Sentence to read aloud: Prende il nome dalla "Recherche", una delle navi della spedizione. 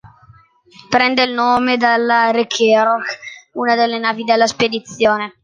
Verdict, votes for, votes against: rejected, 0, 2